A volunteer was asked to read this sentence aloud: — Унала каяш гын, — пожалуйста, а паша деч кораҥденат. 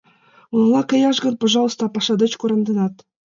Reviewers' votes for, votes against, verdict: 2, 0, accepted